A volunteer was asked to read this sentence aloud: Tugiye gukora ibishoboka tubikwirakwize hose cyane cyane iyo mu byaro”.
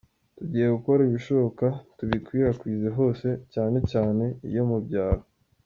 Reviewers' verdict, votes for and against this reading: accepted, 2, 0